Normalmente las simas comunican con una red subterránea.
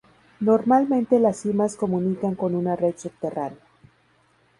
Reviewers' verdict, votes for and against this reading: accepted, 2, 0